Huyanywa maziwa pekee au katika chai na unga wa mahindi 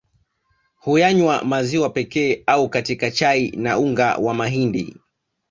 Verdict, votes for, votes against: accepted, 2, 0